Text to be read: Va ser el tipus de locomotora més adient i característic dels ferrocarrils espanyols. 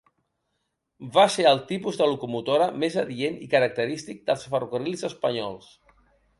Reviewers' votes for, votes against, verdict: 2, 0, accepted